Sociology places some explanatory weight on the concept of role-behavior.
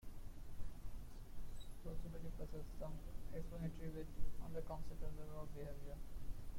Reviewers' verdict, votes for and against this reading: rejected, 0, 2